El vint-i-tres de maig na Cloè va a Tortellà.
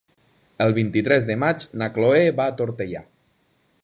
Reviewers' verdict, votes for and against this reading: rejected, 0, 2